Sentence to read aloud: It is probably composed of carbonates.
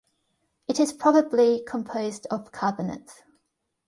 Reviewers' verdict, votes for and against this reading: accepted, 2, 0